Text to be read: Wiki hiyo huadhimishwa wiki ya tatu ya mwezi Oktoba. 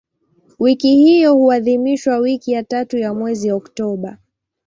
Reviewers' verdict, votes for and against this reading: accepted, 2, 0